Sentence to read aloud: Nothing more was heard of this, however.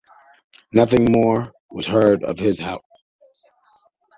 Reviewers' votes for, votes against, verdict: 0, 2, rejected